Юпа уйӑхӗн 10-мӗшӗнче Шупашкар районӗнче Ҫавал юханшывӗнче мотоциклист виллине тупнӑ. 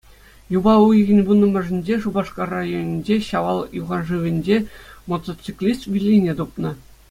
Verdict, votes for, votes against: rejected, 0, 2